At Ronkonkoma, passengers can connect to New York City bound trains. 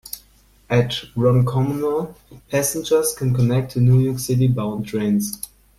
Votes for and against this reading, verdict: 2, 0, accepted